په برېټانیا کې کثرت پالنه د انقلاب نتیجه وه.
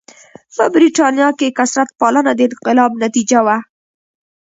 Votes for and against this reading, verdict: 0, 2, rejected